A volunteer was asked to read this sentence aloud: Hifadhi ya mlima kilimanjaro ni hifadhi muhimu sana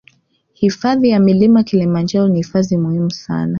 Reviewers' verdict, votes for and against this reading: rejected, 1, 2